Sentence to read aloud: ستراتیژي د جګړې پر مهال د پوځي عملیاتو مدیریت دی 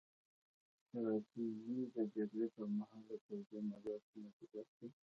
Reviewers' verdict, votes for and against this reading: rejected, 1, 2